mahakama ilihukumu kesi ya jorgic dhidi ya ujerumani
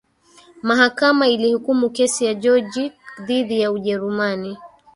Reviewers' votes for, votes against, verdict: 2, 0, accepted